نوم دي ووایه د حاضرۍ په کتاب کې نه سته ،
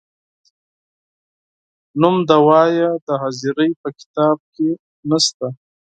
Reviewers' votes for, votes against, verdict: 4, 2, accepted